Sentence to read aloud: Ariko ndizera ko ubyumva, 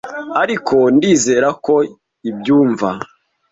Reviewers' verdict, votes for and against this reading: rejected, 1, 2